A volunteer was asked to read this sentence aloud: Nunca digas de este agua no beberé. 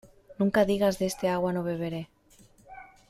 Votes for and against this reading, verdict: 2, 0, accepted